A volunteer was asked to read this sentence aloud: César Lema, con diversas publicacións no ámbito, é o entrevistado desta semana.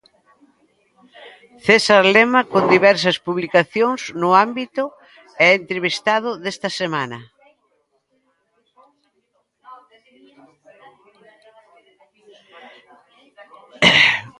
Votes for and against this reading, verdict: 0, 2, rejected